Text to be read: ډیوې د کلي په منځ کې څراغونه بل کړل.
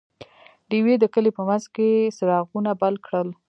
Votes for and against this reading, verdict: 2, 1, accepted